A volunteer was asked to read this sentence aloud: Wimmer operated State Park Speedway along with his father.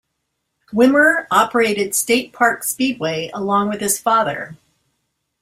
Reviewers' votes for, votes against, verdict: 2, 0, accepted